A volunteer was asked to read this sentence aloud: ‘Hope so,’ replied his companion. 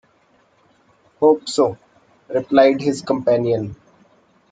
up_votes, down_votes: 2, 0